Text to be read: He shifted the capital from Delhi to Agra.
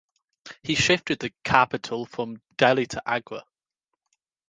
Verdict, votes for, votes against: accepted, 2, 0